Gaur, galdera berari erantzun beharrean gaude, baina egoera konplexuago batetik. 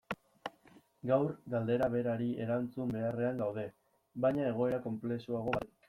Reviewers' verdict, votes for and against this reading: rejected, 0, 2